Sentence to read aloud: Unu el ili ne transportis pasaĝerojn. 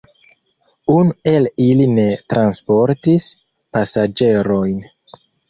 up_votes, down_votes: 1, 2